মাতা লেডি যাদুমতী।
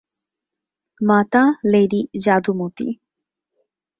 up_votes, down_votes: 2, 0